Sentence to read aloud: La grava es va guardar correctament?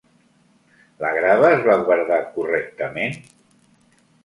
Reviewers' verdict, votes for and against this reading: accepted, 3, 0